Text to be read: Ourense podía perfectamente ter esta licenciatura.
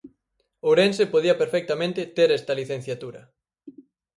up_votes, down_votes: 2, 4